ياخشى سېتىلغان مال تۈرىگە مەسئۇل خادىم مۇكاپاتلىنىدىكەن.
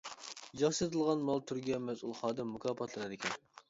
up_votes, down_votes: 0, 2